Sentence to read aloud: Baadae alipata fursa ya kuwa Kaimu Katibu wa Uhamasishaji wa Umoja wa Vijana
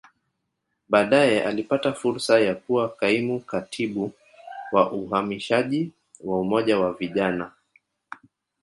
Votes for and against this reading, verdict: 3, 0, accepted